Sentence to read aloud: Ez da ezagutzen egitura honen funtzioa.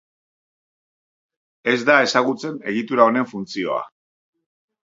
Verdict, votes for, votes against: accepted, 3, 0